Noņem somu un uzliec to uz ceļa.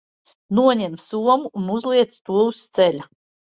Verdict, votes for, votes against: accepted, 2, 0